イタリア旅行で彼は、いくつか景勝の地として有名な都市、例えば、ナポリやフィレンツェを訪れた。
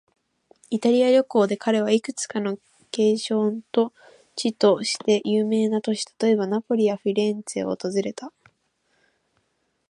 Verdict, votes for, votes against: rejected, 1, 2